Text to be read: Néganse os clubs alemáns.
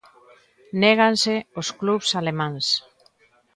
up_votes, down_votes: 2, 0